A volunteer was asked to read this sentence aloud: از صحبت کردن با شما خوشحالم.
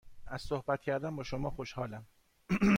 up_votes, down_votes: 0, 2